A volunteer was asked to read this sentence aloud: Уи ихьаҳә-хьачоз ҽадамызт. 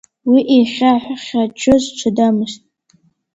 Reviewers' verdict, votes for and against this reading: rejected, 0, 2